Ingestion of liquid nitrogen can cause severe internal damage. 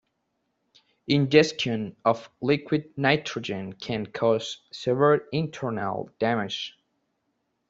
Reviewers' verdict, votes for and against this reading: rejected, 0, 2